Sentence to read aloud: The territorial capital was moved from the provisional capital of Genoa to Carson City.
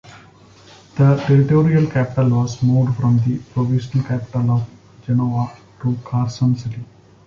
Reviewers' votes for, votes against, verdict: 2, 1, accepted